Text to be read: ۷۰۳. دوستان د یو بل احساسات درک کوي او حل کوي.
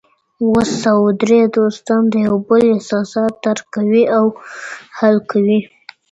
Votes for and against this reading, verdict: 0, 2, rejected